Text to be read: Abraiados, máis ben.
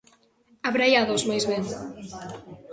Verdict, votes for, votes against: accepted, 2, 1